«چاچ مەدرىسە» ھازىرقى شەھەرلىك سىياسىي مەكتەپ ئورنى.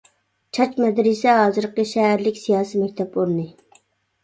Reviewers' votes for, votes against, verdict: 2, 0, accepted